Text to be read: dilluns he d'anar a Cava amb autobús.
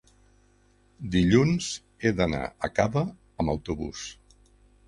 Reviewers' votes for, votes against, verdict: 3, 0, accepted